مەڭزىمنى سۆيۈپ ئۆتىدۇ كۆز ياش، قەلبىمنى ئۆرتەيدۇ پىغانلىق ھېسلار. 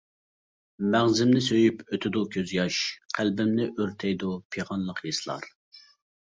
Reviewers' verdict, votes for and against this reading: accepted, 2, 0